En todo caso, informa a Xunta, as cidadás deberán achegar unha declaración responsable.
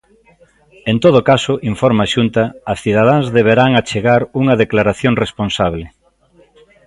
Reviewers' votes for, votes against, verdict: 1, 2, rejected